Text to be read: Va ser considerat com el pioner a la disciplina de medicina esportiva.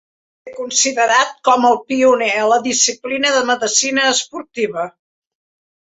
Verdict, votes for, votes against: rejected, 1, 2